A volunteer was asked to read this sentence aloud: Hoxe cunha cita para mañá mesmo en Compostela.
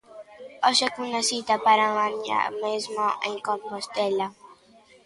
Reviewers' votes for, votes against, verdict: 2, 0, accepted